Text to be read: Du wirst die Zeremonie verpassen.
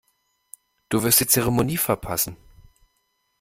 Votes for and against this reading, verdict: 2, 0, accepted